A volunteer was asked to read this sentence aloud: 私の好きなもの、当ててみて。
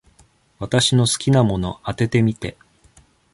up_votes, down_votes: 2, 1